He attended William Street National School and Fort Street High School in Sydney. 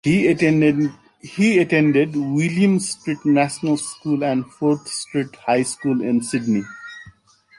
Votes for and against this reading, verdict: 1, 2, rejected